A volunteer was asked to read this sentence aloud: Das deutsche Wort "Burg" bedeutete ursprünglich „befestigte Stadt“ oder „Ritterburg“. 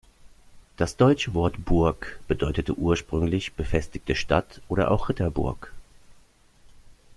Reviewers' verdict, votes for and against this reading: rejected, 1, 2